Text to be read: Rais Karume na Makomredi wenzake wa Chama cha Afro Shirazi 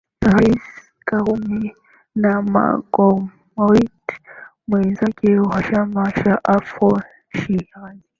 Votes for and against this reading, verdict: 2, 9, rejected